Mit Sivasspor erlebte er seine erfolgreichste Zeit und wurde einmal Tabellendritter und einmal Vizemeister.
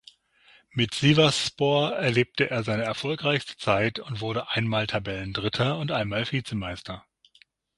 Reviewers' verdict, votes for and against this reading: accepted, 6, 0